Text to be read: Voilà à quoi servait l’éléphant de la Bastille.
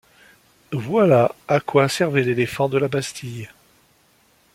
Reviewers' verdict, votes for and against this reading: accepted, 2, 0